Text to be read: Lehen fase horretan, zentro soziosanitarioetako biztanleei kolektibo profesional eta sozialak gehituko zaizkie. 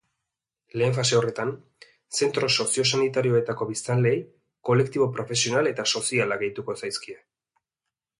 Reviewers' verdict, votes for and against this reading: accepted, 2, 0